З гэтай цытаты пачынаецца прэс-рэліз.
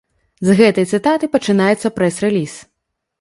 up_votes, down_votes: 2, 0